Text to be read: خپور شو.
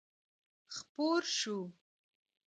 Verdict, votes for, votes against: accepted, 2, 0